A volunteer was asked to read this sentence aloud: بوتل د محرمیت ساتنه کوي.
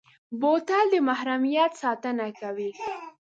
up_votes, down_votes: 2, 0